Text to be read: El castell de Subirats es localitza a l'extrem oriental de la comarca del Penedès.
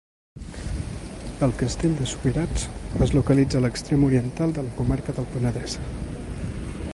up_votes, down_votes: 1, 2